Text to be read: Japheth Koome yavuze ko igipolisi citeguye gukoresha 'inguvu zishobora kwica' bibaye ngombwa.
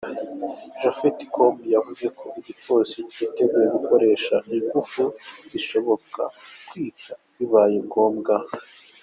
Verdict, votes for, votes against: rejected, 1, 2